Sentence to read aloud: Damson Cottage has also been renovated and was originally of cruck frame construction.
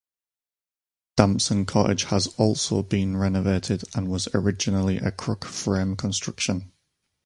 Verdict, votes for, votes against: accepted, 4, 0